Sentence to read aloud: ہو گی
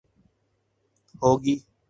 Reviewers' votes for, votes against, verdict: 4, 0, accepted